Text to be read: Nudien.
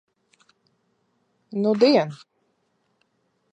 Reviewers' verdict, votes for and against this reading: accepted, 2, 0